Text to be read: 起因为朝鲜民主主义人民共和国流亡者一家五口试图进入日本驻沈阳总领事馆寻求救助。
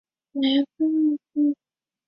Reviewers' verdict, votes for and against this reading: rejected, 0, 4